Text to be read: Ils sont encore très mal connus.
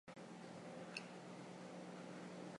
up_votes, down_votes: 0, 2